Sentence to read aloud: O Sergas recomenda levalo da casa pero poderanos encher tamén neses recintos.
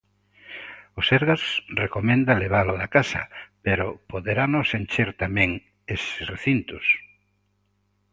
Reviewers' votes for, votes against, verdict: 0, 2, rejected